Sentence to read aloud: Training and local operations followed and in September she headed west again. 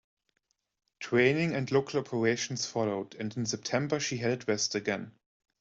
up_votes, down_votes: 2, 0